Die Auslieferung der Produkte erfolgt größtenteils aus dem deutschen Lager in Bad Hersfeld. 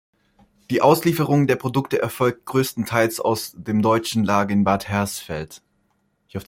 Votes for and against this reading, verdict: 0, 2, rejected